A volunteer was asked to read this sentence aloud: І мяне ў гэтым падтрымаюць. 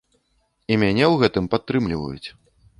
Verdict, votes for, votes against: rejected, 0, 2